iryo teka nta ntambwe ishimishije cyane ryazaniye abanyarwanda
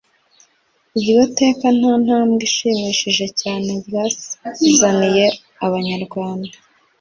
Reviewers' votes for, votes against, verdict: 2, 0, accepted